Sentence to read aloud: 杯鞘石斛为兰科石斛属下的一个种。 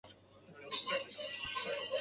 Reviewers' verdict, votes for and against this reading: rejected, 0, 2